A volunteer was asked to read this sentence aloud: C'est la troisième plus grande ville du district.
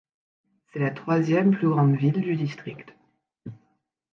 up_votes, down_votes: 2, 0